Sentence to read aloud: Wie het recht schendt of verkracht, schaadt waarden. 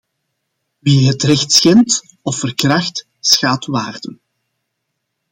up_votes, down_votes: 2, 0